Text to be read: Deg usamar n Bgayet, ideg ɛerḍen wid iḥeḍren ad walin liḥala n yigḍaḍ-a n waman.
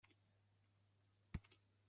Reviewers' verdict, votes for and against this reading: rejected, 1, 2